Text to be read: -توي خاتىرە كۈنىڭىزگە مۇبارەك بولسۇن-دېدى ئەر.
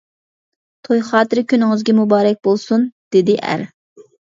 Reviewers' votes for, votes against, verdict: 2, 0, accepted